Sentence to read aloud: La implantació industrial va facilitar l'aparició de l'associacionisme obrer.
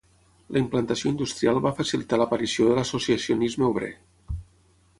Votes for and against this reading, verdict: 6, 0, accepted